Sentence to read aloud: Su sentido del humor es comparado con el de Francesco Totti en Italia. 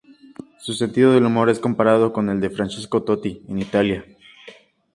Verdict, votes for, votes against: accepted, 2, 0